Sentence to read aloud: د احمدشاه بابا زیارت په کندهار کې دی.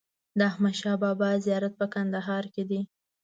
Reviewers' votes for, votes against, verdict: 2, 0, accepted